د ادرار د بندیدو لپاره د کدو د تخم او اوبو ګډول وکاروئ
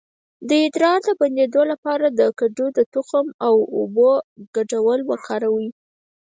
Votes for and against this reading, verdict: 2, 4, rejected